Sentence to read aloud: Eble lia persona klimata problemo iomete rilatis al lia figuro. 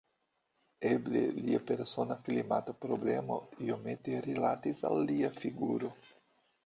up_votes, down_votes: 2, 1